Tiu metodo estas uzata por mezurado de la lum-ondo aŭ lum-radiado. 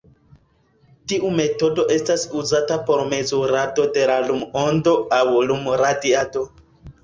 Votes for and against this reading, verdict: 2, 0, accepted